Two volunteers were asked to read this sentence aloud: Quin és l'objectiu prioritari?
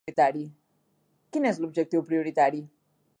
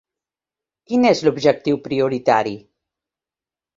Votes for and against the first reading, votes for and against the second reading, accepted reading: 1, 2, 3, 0, second